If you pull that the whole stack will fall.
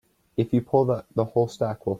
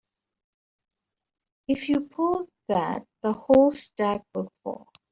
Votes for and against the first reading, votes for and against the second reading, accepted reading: 0, 2, 3, 0, second